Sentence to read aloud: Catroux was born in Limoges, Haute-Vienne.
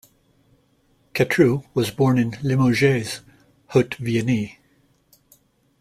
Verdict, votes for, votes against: rejected, 1, 2